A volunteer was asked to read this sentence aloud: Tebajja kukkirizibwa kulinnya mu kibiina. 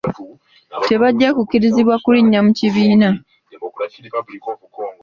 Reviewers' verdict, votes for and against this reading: accepted, 3, 0